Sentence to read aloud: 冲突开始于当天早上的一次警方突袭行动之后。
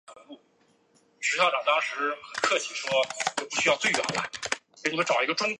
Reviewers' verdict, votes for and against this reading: rejected, 1, 2